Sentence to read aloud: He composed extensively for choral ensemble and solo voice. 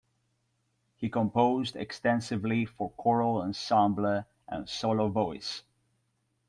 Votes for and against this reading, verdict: 2, 1, accepted